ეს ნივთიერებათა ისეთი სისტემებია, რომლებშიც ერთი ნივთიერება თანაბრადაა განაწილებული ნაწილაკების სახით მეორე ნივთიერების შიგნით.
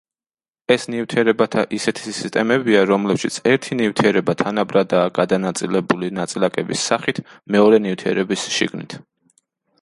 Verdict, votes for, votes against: rejected, 0, 2